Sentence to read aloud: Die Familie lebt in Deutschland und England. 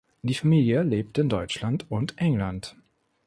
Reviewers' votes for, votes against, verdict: 2, 0, accepted